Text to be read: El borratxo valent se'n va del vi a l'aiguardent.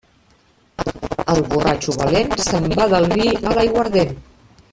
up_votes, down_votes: 0, 2